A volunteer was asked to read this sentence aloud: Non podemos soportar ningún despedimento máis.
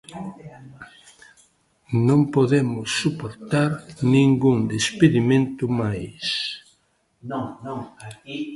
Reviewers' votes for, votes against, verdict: 0, 2, rejected